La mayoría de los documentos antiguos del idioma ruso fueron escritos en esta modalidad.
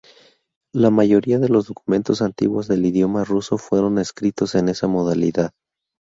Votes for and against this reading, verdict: 0, 2, rejected